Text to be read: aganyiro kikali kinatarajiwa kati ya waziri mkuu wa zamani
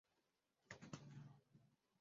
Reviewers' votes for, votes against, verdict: 0, 2, rejected